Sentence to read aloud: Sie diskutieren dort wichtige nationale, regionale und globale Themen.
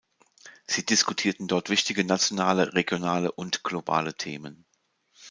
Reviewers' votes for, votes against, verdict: 1, 2, rejected